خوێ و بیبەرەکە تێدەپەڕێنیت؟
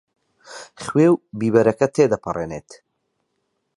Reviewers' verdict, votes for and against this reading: rejected, 0, 6